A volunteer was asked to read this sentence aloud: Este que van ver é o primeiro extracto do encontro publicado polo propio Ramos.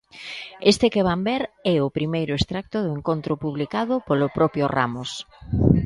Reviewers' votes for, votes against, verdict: 1, 2, rejected